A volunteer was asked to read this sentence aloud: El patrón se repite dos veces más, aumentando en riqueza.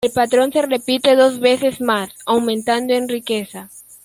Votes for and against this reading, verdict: 1, 2, rejected